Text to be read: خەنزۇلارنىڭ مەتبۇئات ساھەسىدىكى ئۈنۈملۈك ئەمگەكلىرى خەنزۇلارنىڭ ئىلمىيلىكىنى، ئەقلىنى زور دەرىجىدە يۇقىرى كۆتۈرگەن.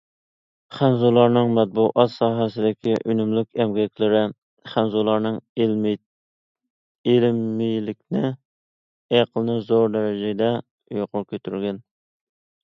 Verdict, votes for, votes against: rejected, 1, 2